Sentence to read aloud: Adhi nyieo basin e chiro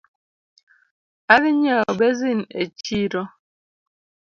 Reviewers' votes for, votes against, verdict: 2, 0, accepted